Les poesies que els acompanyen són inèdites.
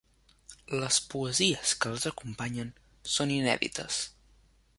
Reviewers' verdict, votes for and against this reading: accepted, 3, 0